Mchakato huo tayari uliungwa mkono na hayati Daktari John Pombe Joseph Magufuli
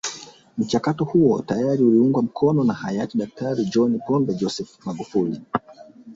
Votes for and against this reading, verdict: 0, 2, rejected